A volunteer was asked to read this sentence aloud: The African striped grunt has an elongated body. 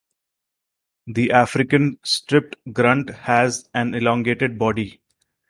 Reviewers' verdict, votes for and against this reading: rejected, 0, 4